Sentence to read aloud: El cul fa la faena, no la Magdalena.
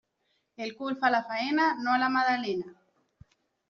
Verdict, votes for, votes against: rejected, 0, 2